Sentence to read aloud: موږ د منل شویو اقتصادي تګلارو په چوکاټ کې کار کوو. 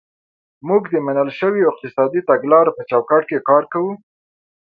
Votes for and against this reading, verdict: 2, 0, accepted